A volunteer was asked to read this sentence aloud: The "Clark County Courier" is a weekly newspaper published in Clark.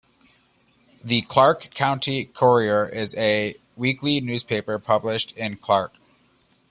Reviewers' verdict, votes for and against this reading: accepted, 2, 0